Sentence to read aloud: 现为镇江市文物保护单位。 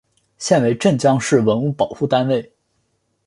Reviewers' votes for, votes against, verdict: 9, 0, accepted